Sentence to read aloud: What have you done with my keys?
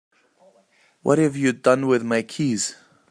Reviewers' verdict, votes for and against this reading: accepted, 2, 0